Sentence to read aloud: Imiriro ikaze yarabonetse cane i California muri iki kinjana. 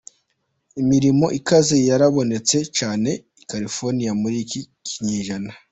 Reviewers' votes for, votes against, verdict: 4, 1, accepted